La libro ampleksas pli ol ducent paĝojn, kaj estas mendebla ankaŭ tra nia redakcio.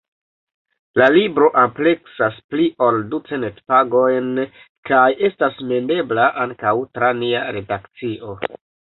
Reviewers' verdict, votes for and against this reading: rejected, 1, 2